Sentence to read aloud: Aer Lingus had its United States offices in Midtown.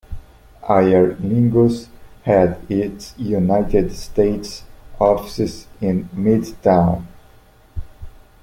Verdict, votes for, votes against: accepted, 2, 1